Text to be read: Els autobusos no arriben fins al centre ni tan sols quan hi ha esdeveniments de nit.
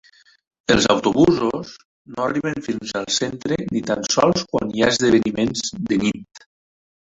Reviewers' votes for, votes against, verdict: 1, 3, rejected